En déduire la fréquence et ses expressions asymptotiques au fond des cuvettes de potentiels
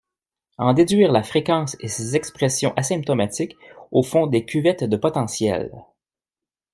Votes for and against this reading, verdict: 0, 2, rejected